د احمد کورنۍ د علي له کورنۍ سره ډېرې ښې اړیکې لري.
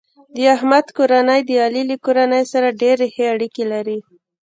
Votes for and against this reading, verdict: 1, 2, rejected